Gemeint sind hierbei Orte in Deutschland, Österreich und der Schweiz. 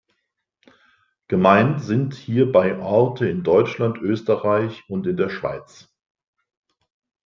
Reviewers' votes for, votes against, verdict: 1, 3, rejected